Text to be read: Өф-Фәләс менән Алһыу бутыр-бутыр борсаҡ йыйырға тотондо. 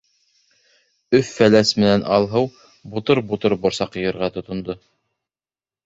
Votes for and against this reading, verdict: 2, 0, accepted